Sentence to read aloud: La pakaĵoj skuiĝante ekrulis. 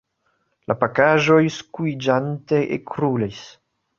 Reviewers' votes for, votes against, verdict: 2, 0, accepted